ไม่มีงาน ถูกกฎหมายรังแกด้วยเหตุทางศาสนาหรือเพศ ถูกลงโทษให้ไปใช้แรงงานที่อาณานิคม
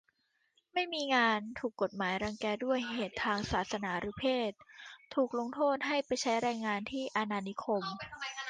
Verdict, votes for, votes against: rejected, 1, 2